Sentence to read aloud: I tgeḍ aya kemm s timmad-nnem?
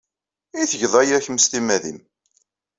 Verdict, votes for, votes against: rejected, 1, 2